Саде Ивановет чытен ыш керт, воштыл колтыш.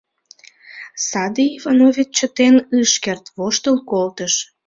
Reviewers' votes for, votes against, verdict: 0, 2, rejected